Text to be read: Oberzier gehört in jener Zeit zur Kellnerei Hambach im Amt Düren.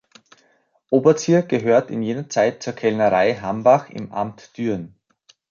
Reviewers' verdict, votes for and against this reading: accepted, 2, 0